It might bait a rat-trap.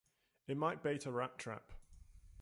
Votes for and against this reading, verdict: 2, 0, accepted